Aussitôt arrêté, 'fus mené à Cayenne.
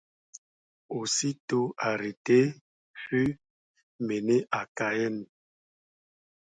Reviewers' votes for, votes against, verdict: 2, 0, accepted